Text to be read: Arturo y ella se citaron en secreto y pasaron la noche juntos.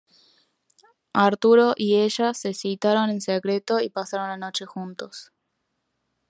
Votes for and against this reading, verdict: 0, 2, rejected